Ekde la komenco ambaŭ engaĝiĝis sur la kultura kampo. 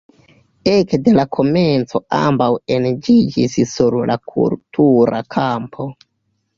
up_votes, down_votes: 1, 3